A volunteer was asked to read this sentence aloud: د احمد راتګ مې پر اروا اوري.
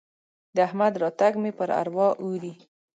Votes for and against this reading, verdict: 2, 0, accepted